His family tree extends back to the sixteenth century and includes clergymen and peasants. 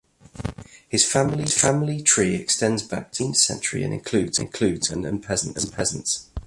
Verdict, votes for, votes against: rejected, 0, 2